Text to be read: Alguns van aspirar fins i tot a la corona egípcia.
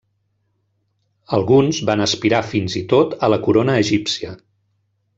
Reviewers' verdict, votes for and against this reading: accepted, 3, 0